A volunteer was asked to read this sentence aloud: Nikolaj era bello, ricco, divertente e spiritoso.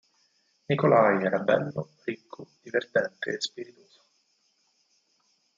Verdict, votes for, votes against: rejected, 2, 4